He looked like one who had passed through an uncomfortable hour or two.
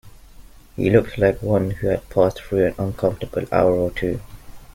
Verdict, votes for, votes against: accepted, 2, 0